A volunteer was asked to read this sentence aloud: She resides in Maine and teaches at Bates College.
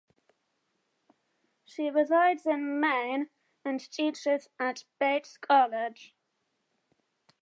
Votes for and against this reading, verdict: 2, 0, accepted